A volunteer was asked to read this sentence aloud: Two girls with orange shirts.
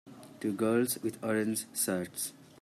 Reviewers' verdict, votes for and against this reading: rejected, 1, 2